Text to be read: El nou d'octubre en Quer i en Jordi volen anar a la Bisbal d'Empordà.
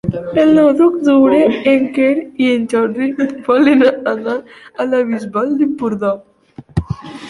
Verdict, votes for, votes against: rejected, 1, 2